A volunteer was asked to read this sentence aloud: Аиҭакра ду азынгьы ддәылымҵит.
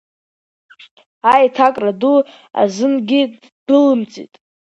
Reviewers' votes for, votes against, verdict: 1, 2, rejected